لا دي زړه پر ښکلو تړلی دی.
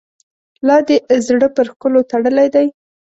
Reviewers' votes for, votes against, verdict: 2, 0, accepted